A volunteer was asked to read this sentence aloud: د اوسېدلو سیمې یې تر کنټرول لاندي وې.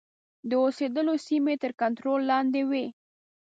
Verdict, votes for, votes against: accepted, 3, 0